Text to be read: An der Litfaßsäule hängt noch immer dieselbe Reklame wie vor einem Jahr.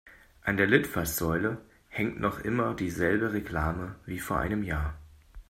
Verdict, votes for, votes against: accepted, 2, 0